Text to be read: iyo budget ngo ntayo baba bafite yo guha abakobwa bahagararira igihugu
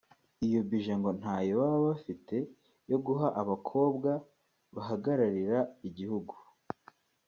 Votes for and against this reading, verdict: 2, 1, accepted